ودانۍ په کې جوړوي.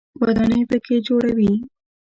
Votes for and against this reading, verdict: 0, 2, rejected